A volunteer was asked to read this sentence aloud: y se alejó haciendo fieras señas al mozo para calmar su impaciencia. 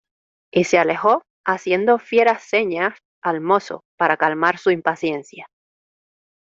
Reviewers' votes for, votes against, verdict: 2, 0, accepted